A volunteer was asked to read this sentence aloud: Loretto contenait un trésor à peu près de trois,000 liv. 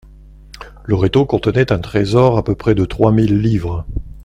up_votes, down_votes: 0, 2